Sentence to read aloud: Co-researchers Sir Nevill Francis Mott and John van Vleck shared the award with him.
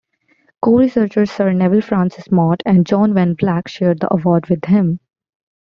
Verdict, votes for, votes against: accepted, 2, 0